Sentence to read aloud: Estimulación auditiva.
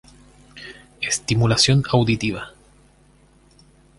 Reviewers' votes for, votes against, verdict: 6, 0, accepted